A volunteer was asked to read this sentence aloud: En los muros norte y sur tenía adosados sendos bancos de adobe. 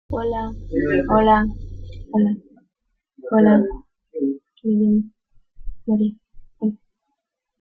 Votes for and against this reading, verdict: 0, 2, rejected